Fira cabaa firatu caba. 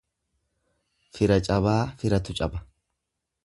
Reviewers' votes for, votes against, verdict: 2, 0, accepted